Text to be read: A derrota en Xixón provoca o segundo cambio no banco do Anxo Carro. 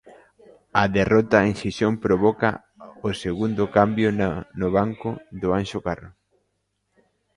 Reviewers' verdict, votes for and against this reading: rejected, 0, 2